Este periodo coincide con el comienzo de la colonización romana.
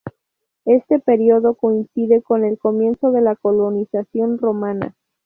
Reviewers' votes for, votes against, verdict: 2, 0, accepted